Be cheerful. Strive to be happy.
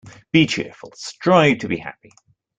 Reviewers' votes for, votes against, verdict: 2, 0, accepted